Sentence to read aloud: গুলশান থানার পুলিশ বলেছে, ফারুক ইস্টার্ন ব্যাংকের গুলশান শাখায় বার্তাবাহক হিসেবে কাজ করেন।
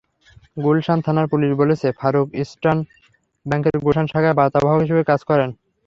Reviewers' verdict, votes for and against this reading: accepted, 3, 0